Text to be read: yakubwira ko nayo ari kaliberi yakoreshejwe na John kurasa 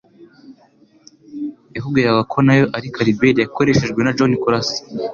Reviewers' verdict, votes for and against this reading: accepted, 2, 0